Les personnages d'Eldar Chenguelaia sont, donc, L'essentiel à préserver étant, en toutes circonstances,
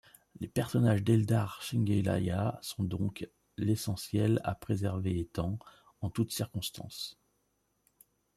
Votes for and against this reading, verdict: 2, 0, accepted